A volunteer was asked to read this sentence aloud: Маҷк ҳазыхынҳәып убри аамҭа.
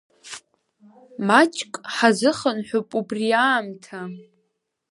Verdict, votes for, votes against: accepted, 2, 0